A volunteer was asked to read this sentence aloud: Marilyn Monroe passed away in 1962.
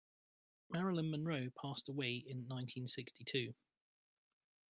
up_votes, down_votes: 0, 2